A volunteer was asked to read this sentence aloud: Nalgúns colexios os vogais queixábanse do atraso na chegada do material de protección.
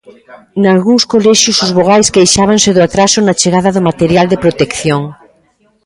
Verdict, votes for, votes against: rejected, 0, 2